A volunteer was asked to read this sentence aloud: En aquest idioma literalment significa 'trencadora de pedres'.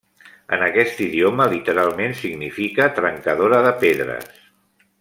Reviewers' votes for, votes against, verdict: 2, 0, accepted